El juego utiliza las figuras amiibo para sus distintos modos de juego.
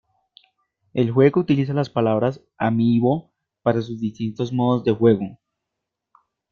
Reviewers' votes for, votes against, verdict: 0, 2, rejected